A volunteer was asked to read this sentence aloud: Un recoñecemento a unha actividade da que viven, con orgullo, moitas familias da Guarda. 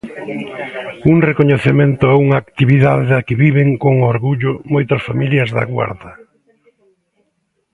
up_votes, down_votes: 2, 0